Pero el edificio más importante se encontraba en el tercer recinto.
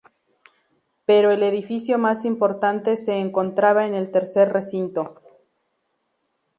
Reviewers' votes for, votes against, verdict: 2, 0, accepted